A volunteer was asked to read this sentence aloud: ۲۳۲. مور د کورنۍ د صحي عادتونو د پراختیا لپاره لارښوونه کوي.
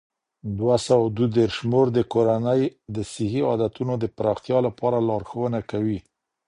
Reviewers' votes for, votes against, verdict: 0, 2, rejected